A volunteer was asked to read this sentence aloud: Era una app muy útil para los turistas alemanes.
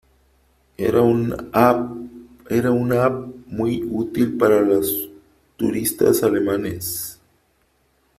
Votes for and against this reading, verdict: 0, 3, rejected